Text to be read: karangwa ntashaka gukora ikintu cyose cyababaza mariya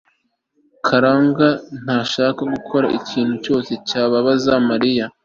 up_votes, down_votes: 3, 0